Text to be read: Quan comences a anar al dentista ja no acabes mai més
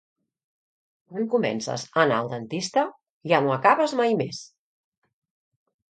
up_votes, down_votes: 2, 0